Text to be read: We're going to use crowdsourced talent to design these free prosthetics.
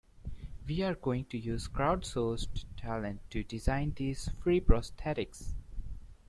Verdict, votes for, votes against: accepted, 2, 0